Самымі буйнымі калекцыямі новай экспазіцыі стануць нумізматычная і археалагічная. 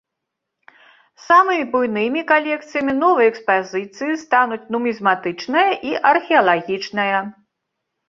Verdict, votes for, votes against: rejected, 0, 2